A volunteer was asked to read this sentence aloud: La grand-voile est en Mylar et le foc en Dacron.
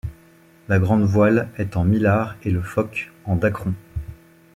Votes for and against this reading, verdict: 1, 2, rejected